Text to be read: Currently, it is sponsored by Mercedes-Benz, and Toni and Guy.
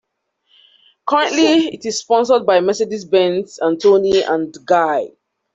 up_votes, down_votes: 2, 1